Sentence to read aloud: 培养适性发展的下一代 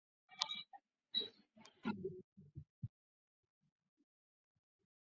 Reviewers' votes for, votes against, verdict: 1, 3, rejected